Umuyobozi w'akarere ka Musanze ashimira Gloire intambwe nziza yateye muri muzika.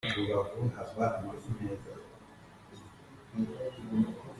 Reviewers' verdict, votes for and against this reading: rejected, 0, 2